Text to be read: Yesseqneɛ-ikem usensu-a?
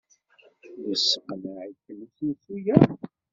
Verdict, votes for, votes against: rejected, 0, 2